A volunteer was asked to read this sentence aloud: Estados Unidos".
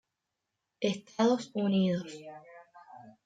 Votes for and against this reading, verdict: 2, 1, accepted